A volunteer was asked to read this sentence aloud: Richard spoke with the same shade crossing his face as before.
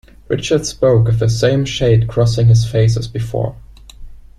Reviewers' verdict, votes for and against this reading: accepted, 2, 0